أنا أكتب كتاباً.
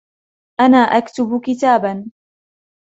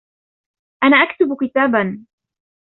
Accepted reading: first